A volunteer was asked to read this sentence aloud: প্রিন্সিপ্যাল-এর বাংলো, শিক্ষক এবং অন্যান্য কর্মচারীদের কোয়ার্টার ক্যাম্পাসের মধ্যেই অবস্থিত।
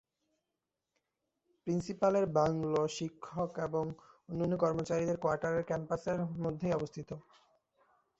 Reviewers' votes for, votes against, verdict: 2, 1, accepted